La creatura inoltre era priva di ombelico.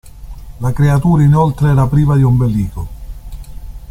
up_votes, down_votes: 2, 0